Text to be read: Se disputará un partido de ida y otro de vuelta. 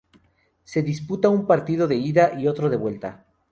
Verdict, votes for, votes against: rejected, 0, 2